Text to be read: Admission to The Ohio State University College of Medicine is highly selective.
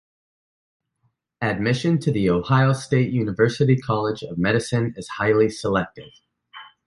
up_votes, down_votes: 2, 0